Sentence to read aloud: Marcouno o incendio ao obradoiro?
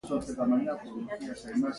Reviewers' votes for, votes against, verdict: 0, 2, rejected